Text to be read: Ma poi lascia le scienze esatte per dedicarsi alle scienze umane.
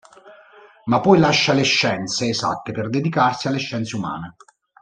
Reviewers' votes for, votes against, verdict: 0, 2, rejected